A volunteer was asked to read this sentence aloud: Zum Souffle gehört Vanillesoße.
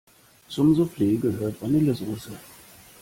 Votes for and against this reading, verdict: 2, 0, accepted